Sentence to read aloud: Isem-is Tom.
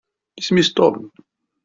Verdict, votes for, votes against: accepted, 2, 1